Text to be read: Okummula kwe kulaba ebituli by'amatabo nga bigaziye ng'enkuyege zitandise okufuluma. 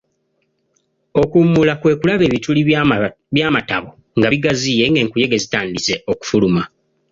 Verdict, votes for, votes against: accepted, 2, 1